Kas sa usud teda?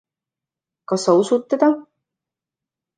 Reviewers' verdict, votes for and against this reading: accepted, 2, 0